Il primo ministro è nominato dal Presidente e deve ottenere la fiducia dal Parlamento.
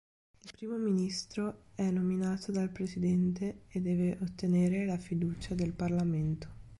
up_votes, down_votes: 0, 2